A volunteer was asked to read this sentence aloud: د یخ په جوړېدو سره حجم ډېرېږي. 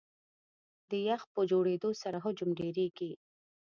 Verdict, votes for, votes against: accepted, 2, 0